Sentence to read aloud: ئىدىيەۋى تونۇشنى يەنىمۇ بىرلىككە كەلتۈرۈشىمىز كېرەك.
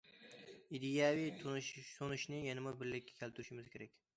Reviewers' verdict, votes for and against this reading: rejected, 0, 2